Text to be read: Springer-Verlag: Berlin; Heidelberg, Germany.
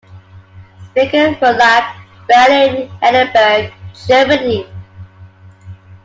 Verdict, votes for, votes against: rejected, 1, 2